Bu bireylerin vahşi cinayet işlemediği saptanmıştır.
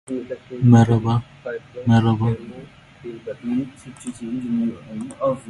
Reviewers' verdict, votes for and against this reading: rejected, 0, 2